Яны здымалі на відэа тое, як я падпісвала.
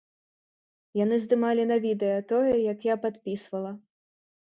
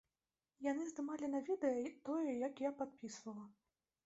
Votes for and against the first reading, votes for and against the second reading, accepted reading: 2, 0, 1, 2, first